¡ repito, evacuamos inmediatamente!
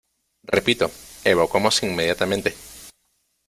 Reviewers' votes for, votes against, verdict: 2, 0, accepted